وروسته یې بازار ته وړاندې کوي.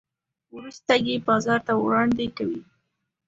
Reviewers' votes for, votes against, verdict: 2, 0, accepted